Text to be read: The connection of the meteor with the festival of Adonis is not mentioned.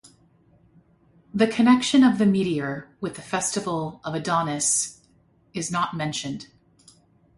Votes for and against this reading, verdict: 2, 0, accepted